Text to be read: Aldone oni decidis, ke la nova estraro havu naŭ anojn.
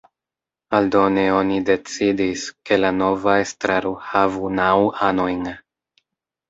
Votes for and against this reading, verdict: 2, 0, accepted